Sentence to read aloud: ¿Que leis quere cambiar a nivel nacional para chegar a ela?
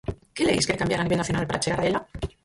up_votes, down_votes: 0, 4